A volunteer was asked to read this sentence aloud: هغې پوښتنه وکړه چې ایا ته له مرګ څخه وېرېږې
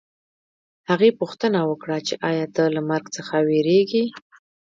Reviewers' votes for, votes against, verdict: 0, 2, rejected